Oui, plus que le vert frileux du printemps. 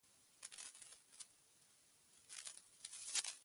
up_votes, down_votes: 0, 2